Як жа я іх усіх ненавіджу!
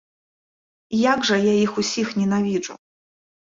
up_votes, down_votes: 2, 0